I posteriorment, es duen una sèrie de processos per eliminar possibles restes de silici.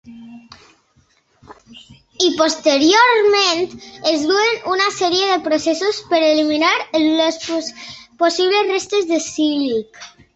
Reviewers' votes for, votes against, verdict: 0, 2, rejected